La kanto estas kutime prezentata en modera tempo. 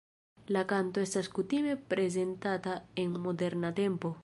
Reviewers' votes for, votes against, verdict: 1, 2, rejected